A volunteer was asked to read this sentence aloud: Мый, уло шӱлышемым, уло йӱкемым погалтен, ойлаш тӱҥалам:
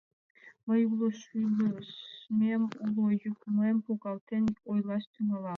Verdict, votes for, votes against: rejected, 1, 2